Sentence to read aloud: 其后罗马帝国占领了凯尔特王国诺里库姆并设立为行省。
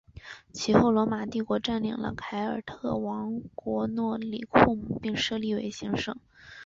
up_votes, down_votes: 7, 0